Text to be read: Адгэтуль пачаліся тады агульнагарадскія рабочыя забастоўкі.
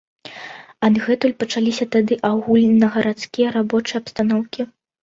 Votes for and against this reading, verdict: 0, 2, rejected